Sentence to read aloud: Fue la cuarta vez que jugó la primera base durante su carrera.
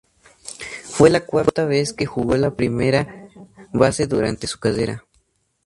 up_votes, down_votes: 2, 0